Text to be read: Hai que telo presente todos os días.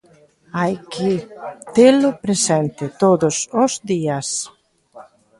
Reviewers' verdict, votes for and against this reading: rejected, 1, 2